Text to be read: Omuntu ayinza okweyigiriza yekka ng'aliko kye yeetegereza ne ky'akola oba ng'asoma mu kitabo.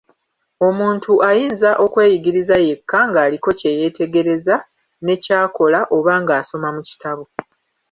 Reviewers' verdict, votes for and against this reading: rejected, 1, 2